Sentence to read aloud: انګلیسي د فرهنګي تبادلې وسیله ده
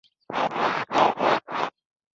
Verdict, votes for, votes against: rejected, 1, 2